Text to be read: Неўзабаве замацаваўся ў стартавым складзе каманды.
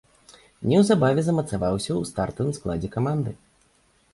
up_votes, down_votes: 2, 0